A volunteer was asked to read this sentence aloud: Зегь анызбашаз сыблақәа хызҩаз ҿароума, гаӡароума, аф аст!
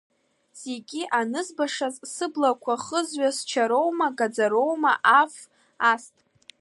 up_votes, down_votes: 1, 2